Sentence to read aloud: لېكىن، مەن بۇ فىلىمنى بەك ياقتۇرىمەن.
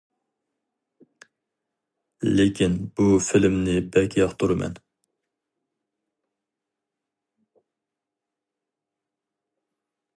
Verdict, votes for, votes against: rejected, 2, 2